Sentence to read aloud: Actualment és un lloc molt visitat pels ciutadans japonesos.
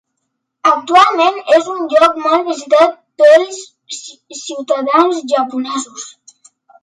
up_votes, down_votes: 2, 3